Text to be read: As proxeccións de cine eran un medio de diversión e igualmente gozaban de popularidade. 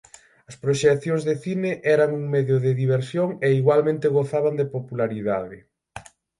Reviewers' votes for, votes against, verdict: 3, 3, rejected